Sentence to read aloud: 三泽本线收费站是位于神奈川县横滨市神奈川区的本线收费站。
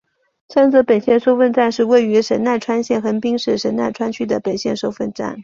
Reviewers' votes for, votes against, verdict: 3, 0, accepted